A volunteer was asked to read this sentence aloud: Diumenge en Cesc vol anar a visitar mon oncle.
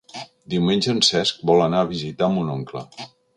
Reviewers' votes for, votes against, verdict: 5, 0, accepted